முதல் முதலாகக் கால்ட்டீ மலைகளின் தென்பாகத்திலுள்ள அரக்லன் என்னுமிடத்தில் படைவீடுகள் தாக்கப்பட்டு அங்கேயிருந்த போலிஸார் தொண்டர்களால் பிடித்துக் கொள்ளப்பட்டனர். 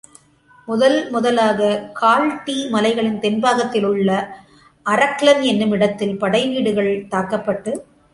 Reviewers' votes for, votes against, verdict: 0, 2, rejected